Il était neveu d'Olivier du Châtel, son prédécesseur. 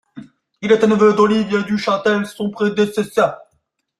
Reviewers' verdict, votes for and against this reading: accepted, 2, 0